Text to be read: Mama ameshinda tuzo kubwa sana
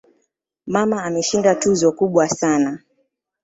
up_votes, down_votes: 2, 0